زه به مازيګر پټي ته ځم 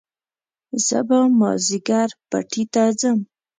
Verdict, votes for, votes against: accepted, 2, 0